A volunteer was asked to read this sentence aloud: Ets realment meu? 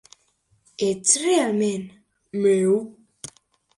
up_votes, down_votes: 2, 0